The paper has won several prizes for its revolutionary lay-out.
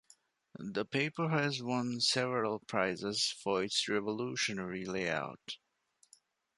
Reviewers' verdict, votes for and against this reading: accepted, 2, 1